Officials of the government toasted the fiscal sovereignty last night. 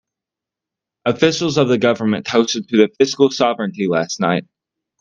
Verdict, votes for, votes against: accepted, 2, 0